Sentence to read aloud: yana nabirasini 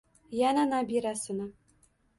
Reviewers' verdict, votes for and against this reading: accepted, 2, 0